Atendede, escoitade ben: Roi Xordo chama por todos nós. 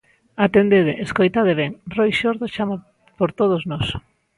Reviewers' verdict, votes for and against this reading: accepted, 2, 0